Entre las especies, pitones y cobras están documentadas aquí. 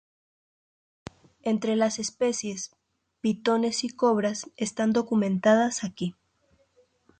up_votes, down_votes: 2, 0